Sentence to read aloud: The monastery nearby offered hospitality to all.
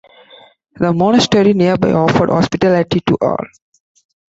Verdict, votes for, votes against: accepted, 2, 0